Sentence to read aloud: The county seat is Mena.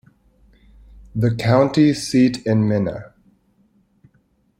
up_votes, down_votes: 0, 2